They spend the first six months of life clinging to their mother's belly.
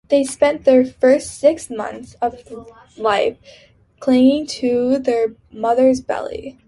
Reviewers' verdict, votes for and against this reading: accepted, 2, 0